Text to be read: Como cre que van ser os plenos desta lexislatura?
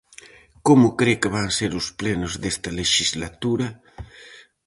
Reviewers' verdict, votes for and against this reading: accepted, 4, 0